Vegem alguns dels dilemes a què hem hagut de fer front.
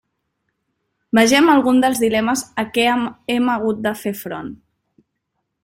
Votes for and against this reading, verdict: 1, 2, rejected